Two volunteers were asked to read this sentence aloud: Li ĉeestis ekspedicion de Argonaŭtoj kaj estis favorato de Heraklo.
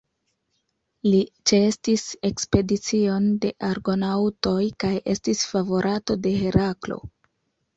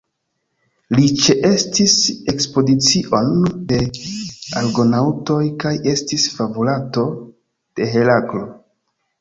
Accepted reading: first